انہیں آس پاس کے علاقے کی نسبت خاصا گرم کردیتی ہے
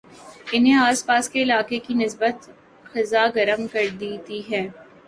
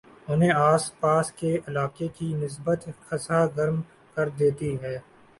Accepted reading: first